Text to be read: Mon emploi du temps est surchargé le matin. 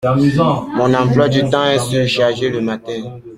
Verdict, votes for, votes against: rejected, 1, 2